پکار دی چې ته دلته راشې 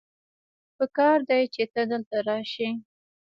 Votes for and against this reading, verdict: 1, 2, rejected